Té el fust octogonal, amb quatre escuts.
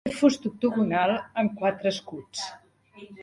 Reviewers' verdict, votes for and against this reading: rejected, 0, 2